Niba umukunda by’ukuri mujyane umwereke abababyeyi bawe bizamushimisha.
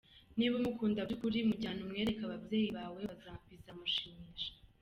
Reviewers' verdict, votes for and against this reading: rejected, 1, 2